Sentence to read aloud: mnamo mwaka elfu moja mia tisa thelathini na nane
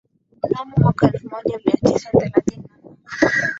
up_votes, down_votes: 4, 5